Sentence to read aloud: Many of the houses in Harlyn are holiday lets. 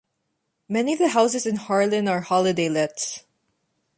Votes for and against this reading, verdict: 2, 0, accepted